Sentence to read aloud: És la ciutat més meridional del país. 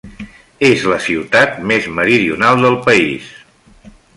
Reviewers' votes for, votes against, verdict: 3, 0, accepted